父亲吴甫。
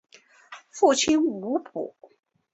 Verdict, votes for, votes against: accepted, 2, 0